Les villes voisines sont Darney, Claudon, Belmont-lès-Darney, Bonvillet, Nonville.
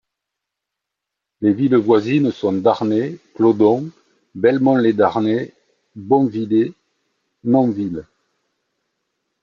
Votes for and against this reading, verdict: 1, 2, rejected